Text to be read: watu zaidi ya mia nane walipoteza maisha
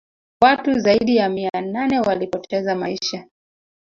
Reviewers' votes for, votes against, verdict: 2, 1, accepted